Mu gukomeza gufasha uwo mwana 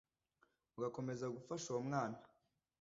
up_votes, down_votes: 1, 2